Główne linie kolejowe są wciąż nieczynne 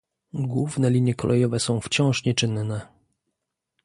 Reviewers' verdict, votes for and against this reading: accepted, 2, 0